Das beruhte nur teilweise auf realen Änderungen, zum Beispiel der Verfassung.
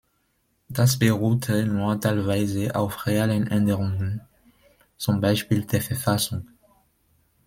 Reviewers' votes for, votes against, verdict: 2, 0, accepted